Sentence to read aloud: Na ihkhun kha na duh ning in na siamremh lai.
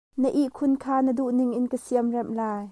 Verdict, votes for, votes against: rejected, 1, 2